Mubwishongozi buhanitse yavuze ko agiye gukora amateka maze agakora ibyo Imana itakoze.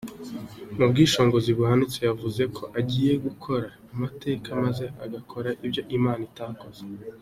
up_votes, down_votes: 2, 0